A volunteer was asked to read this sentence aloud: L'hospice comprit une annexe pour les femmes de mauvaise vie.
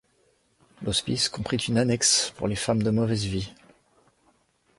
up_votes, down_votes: 2, 0